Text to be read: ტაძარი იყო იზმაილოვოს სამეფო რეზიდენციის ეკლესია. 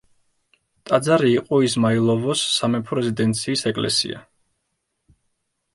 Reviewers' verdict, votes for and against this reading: accepted, 2, 0